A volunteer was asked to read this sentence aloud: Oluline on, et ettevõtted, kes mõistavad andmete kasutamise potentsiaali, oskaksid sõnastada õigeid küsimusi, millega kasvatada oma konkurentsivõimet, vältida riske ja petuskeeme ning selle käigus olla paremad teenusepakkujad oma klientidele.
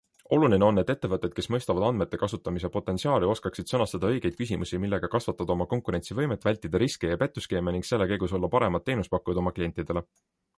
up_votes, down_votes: 2, 1